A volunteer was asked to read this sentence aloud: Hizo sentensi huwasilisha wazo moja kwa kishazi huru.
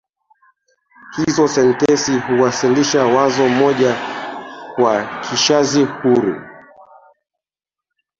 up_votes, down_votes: 0, 3